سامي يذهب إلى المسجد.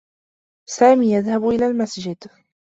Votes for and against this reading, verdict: 2, 0, accepted